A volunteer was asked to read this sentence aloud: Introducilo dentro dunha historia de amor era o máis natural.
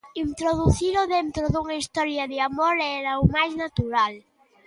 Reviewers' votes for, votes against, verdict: 2, 0, accepted